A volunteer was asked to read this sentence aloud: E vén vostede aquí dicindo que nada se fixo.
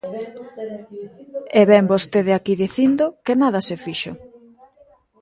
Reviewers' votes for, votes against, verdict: 0, 2, rejected